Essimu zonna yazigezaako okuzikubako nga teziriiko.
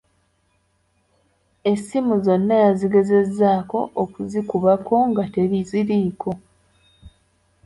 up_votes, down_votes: 0, 2